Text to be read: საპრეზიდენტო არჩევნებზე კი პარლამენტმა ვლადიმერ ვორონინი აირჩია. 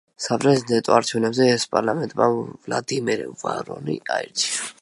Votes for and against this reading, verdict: 0, 2, rejected